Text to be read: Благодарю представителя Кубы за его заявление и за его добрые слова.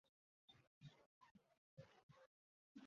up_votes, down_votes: 0, 2